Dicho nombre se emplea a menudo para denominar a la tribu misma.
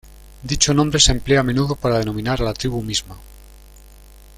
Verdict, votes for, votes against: accepted, 2, 0